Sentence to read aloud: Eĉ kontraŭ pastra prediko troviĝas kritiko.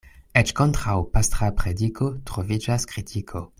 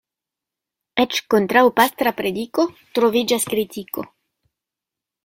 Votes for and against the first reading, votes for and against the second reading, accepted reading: 2, 0, 0, 2, first